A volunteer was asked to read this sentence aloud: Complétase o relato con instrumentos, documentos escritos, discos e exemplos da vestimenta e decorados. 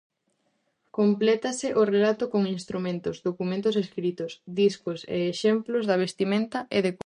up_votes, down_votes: 0, 2